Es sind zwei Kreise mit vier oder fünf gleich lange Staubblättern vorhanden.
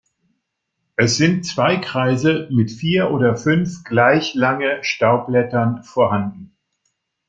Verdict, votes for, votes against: accepted, 2, 0